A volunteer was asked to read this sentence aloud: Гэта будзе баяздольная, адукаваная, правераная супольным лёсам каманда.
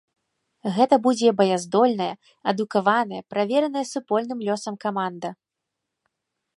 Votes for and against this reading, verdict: 1, 2, rejected